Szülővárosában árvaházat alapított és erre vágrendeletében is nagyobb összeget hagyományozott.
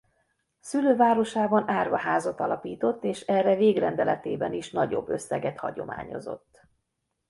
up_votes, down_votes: 1, 2